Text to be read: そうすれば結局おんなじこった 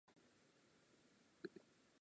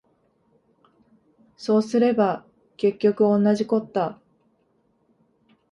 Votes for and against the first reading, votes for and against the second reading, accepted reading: 1, 3, 4, 0, second